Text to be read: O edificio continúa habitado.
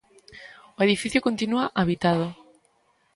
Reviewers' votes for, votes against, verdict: 2, 0, accepted